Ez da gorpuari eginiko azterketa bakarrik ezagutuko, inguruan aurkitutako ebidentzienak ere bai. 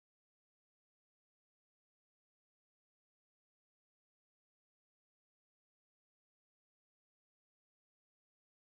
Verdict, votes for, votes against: rejected, 0, 2